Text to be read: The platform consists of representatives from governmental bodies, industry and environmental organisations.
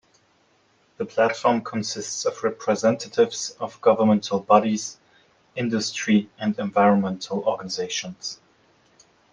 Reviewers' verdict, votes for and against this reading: rejected, 1, 2